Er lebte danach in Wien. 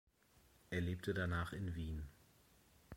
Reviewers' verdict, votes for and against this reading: accepted, 2, 0